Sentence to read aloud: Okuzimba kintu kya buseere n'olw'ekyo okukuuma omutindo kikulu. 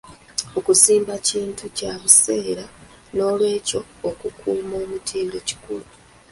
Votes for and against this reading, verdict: 2, 3, rejected